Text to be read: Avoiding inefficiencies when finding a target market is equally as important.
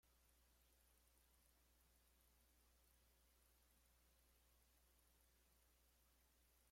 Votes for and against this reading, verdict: 0, 2, rejected